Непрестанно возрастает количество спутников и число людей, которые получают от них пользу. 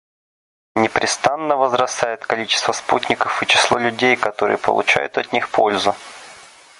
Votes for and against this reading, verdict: 2, 0, accepted